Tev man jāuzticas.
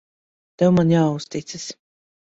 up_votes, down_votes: 2, 0